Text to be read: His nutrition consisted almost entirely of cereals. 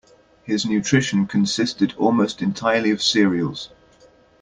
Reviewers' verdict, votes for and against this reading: accepted, 2, 0